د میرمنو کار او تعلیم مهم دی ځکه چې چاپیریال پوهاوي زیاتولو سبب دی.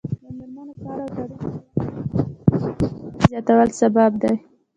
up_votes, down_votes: 1, 2